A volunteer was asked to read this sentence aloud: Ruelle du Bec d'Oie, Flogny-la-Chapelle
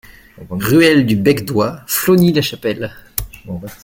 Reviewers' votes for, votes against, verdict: 2, 0, accepted